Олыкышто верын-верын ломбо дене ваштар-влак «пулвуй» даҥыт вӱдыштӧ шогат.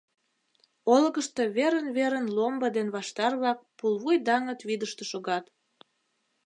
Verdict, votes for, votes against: rejected, 0, 2